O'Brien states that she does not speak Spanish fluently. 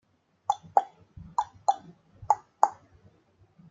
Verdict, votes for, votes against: rejected, 0, 2